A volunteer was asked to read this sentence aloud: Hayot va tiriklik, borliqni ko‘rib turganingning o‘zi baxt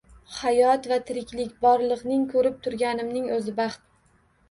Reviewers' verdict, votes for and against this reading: accepted, 2, 1